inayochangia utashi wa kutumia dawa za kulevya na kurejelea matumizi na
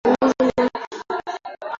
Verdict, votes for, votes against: rejected, 0, 2